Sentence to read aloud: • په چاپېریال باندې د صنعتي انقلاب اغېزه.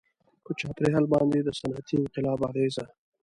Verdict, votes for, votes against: accepted, 2, 0